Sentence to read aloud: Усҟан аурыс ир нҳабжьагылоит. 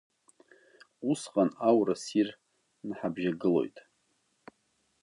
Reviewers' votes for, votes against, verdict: 0, 2, rejected